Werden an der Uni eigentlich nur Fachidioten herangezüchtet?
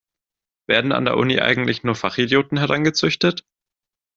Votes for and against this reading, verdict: 2, 0, accepted